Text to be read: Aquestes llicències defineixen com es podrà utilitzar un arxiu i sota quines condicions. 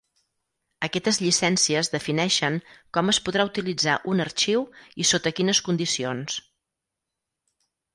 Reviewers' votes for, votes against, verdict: 2, 4, rejected